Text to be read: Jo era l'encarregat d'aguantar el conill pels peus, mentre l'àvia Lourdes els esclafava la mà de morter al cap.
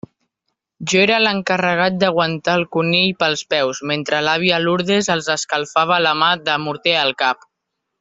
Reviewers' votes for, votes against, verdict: 1, 2, rejected